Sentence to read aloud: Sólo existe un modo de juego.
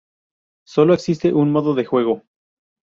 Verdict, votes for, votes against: accepted, 2, 0